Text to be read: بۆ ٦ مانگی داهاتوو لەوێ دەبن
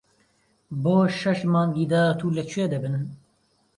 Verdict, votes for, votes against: rejected, 0, 2